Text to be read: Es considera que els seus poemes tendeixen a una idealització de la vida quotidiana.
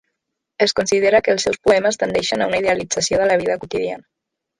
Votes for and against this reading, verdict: 3, 0, accepted